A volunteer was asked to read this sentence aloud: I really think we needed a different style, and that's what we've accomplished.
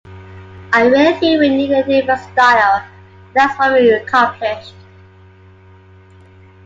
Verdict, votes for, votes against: accepted, 3, 1